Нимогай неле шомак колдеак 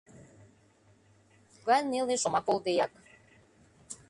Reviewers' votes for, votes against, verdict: 1, 2, rejected